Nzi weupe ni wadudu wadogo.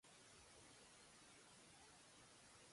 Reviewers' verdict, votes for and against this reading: rejected, 0, 2